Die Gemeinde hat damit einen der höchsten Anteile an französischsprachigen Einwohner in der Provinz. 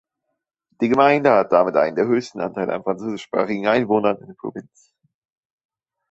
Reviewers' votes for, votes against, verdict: 0, 2, rejected